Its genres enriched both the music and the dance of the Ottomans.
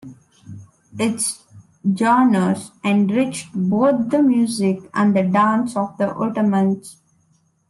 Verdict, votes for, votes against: rejected, 0, 2